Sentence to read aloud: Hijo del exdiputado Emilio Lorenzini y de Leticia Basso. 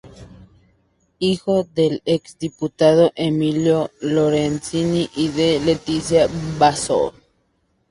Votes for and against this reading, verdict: 4, 0, accepted